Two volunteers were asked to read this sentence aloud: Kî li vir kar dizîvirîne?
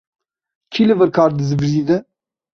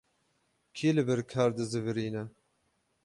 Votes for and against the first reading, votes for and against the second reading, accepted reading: 0, 2, 12, 0, second